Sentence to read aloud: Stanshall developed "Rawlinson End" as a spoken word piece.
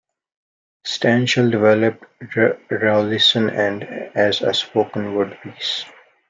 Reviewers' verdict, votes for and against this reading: rejected, 0, 2